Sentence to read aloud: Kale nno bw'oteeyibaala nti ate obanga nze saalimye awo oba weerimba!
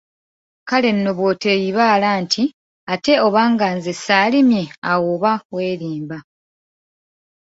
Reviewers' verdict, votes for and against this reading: accepted, 2, 1